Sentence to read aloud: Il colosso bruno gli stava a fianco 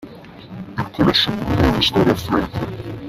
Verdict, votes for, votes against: rejected, 0, 2